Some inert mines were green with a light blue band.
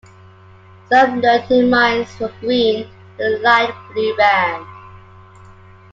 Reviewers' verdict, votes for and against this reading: rejected, 0, 2